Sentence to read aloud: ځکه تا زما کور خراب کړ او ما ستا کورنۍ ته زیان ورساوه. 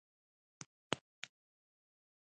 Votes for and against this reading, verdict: 1, 2, rejected